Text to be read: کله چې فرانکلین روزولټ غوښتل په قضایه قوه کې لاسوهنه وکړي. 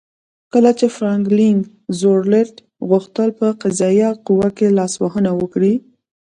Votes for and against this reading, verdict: 1, 2, rejected